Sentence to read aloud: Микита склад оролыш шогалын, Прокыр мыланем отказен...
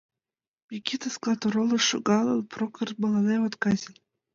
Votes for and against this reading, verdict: 2, 1, accepted